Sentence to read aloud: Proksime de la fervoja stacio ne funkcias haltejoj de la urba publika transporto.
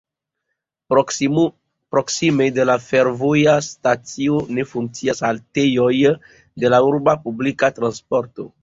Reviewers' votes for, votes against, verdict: 1, 2, rejected